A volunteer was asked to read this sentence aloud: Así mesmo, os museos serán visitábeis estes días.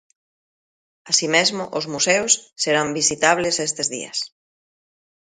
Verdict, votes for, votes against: rejected, 0, 2